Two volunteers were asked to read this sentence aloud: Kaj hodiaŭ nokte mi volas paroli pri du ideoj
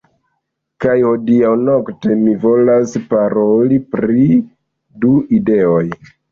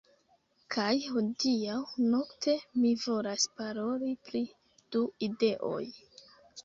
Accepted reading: first